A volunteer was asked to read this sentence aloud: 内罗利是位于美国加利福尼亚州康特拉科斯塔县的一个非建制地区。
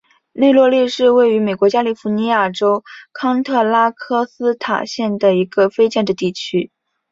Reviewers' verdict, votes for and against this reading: accepted, 2, 0